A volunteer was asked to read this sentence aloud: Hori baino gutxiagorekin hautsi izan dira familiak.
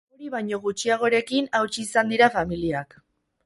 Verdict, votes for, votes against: accepted, 6, 2